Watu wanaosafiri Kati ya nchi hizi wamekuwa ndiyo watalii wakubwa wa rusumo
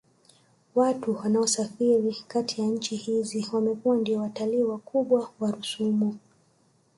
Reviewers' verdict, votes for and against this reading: rejected, 0, 2